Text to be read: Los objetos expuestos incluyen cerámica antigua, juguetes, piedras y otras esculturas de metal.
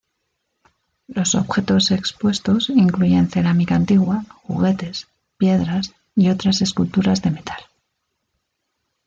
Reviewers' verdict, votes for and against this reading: accepted, 2, 0